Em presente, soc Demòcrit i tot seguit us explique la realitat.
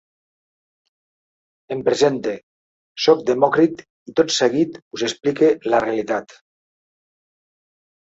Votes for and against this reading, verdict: 4, 0, accepted